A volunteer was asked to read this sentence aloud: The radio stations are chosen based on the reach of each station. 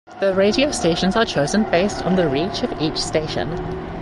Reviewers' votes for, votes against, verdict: 1, 2, rejected